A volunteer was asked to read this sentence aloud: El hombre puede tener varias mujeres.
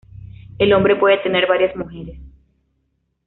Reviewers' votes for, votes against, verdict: 2, 0, accepted